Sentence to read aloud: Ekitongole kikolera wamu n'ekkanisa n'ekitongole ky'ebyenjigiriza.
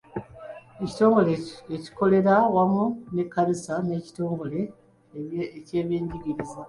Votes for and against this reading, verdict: 0, 2, rejected